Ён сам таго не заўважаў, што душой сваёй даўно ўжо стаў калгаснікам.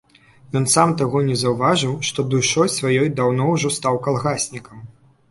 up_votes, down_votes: 0, 2